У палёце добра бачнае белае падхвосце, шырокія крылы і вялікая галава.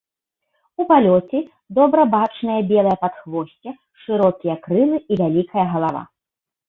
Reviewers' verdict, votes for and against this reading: accepted, 2, 0